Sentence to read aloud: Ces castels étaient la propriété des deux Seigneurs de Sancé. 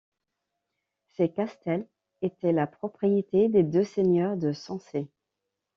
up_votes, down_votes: 1, 2